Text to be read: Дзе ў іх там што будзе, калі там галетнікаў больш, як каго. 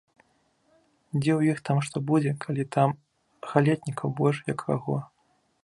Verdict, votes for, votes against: accepted, 2, 0